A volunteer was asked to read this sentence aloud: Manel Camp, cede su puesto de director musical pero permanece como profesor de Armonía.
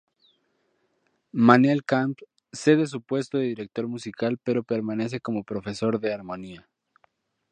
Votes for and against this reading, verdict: 2, 0, accepted